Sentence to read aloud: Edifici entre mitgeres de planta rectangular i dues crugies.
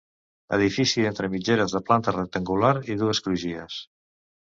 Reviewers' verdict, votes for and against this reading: accepted, 2, 0